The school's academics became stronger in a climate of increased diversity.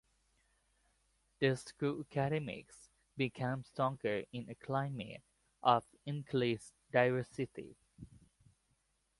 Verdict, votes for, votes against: accepted, 3, 2